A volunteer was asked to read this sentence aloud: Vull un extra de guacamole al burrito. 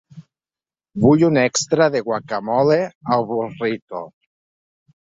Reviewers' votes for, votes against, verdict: 4, 0, accepted